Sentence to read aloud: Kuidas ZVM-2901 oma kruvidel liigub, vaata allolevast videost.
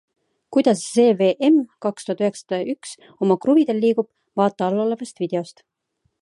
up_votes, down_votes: 0, 2